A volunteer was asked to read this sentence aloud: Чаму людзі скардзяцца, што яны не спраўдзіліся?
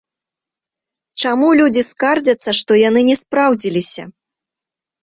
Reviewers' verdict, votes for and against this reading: accepted, 2, 0